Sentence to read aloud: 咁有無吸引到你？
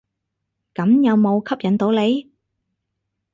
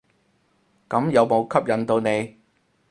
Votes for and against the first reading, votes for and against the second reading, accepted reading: 6, 0, 2, 2, first